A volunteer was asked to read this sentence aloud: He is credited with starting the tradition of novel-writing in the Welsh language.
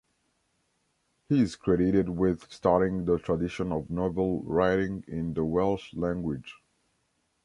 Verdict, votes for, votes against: accepted, 2, 0